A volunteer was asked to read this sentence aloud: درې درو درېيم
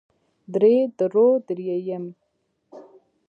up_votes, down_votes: 1, 2